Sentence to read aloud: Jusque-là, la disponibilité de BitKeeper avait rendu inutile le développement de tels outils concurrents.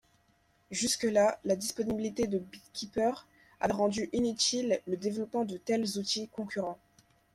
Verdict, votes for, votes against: accepted, 2, 0